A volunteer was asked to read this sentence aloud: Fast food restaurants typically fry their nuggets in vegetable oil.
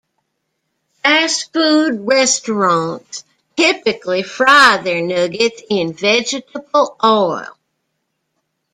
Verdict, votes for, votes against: rejected, 1, 2